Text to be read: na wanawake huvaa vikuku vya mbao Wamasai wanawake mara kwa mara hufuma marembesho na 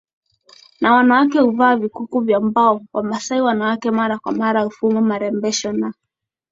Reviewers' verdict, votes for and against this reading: accepted, 4, 1